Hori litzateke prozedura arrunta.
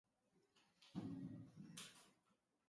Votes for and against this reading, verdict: 1, 2, rejected